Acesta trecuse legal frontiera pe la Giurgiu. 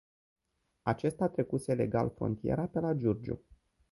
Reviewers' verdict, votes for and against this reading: accepted, 2, 0